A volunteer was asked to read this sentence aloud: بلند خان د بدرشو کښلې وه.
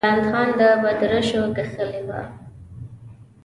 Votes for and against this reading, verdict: 0, 2, rejected